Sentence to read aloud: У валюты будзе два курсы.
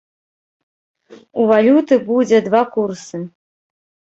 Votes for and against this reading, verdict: 2, 0, accepted